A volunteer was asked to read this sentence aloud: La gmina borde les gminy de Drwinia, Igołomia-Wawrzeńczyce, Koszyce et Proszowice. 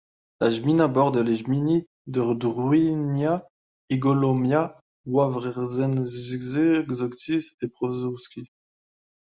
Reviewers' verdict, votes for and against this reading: rejected, 1, 2